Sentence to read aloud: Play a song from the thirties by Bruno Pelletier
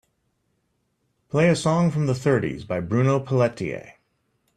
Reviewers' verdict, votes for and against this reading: accepted, 2, 0